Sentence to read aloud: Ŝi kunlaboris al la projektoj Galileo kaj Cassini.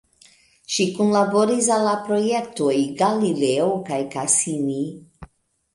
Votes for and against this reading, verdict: 2, 1, accepted